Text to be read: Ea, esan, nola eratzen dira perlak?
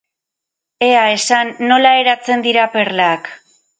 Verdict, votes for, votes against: accepted, 8, 0